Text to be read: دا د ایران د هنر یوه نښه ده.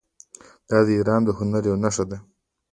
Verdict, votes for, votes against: accepted, 2, 1